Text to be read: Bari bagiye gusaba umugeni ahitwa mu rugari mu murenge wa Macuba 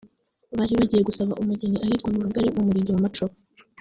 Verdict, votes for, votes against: accepted, 3, 0